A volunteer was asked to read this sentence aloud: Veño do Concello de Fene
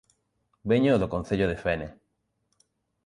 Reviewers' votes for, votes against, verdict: 2, 0, accepted